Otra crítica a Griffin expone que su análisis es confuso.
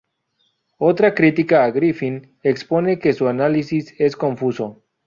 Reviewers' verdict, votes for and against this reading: rejected, 0, 2